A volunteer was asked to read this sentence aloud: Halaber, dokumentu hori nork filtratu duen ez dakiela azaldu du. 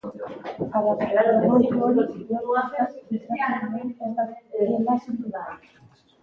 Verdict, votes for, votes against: rejected, 0, 3